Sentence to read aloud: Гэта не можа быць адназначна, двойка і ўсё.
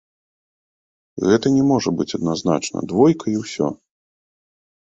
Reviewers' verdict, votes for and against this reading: accepted, 2, 1